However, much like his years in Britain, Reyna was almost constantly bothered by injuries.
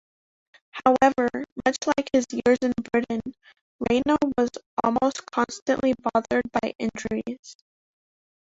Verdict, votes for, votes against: accepted, 2, 1